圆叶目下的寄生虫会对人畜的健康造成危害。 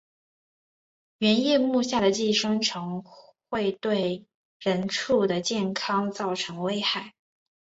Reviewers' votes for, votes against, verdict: 3, 1, accepted